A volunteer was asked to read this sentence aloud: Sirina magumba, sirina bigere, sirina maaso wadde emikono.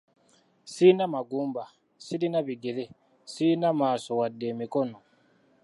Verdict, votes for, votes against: rejected, 1, 2